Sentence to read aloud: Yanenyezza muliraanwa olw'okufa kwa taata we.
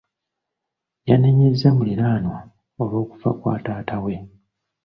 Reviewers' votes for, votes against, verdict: 2, 0, accepted